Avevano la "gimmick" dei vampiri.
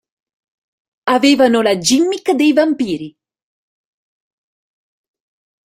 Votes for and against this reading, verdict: 2, 0, accepted